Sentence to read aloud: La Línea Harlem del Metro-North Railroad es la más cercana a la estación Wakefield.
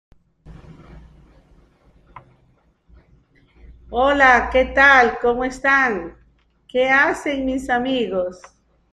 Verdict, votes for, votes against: rejected, 0, 2